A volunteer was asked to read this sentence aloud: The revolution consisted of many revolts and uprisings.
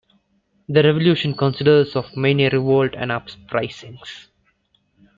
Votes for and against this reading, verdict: 1, 2, rejected